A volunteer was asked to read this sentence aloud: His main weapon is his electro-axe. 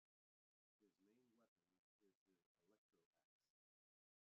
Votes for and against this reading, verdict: 0, 2, rejected